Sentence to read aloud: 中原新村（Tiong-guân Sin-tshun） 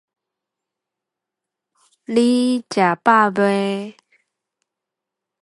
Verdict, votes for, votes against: rejected, 0, 2